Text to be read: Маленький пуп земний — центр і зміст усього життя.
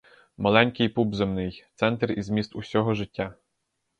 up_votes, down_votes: 4, 0